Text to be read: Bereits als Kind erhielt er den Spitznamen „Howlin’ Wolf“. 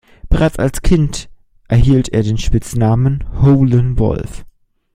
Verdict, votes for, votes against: accepted, 2, 0